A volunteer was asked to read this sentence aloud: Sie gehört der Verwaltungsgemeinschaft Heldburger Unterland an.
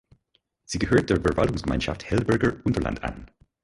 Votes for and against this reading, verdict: 2, 4, rejected